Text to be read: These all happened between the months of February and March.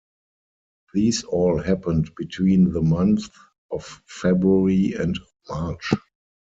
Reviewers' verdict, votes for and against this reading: accepted, 4, 0